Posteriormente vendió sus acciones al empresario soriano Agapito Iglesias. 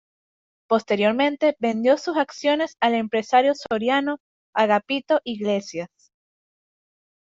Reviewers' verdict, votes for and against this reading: accepted, 2, 0